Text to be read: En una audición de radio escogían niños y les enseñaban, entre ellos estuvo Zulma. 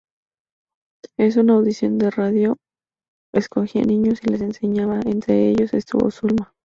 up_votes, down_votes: 0, 2